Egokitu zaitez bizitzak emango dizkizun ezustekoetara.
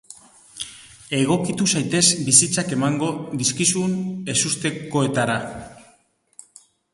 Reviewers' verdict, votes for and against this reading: accepted, 2, 0